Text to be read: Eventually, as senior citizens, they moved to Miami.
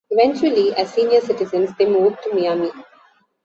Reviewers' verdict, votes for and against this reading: accepted, 2, 0